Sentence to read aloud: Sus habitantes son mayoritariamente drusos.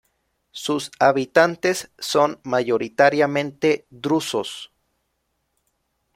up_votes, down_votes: 2, 0